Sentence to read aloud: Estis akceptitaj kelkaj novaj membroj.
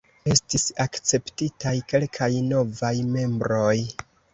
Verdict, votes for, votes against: accepted, 2, 0